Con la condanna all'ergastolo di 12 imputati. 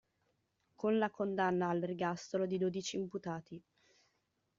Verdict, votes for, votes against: rejected, 0, 2